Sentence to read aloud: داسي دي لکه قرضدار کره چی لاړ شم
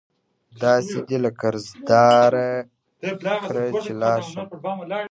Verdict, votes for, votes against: rejected, 0, 2